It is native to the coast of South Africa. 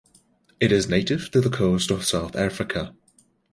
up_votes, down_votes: 2, 0